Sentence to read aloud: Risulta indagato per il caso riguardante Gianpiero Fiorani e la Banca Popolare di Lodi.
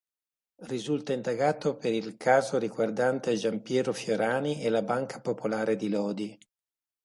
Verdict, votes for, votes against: accepted, 2, 1